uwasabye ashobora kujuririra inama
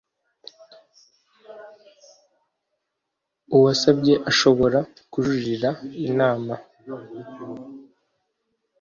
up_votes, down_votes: 2, 0